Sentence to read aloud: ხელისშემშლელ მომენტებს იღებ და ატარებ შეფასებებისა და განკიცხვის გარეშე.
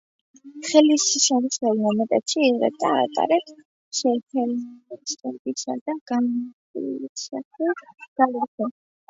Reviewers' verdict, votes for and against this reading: rejected, 0, 2